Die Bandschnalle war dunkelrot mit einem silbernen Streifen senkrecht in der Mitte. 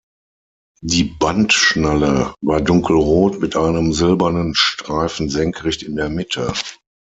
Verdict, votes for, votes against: accepted, 6, 0